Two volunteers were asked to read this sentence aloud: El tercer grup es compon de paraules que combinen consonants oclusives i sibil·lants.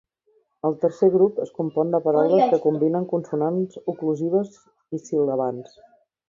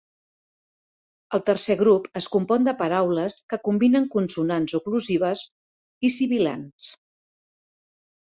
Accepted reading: second